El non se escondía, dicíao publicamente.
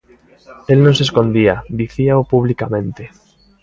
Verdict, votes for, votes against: accepted, 2, 0